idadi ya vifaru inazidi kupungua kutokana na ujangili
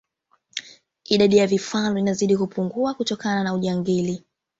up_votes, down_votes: 0, 2